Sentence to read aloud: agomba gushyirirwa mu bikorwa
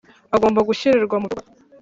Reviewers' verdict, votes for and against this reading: rejected, 0, 2